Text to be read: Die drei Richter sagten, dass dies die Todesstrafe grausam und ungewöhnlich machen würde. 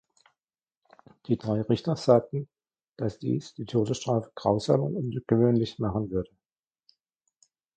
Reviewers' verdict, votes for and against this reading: rejected, 1, 2